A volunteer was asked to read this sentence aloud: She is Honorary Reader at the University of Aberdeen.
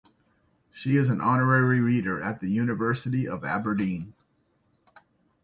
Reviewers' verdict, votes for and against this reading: accepted, 2, 1